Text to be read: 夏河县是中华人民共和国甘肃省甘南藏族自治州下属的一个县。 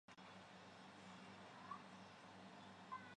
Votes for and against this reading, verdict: 2, 5, rejected